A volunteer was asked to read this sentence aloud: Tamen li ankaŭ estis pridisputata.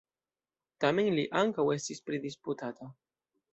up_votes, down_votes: 1, 2